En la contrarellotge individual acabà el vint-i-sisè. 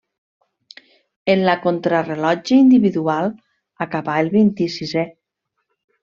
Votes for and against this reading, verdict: 2, 0, accepted